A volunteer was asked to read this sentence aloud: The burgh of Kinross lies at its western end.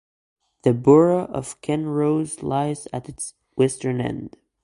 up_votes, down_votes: 2, 0